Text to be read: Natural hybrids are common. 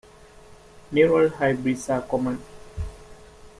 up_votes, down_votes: 1, 2